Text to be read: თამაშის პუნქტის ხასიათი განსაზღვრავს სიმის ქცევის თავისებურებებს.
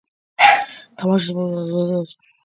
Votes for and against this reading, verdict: 0, 2, rejected